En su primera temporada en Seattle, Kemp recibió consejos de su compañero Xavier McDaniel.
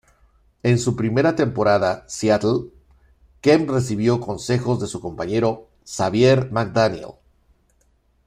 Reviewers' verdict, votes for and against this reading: rejected, 1, 2